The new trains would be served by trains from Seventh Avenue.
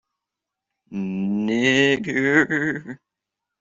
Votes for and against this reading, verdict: 0, 2, rejected